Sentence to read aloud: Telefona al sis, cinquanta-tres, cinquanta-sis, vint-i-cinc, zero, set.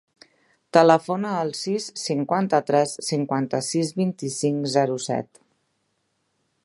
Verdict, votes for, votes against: accepted, 3, 0